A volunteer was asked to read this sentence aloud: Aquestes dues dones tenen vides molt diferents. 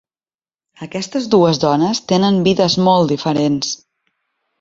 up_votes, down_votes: 2, 0